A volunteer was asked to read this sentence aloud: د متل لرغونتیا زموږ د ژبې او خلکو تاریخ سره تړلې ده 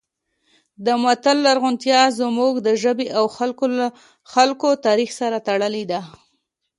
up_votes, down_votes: 2, 0